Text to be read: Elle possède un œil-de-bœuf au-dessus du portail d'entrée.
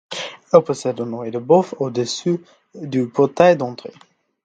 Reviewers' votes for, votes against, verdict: 3, 0, accepted